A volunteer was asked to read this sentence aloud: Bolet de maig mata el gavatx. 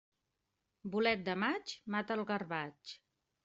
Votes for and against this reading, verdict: 1, 2, rejected